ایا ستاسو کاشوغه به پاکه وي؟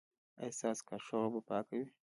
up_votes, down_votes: 1, 2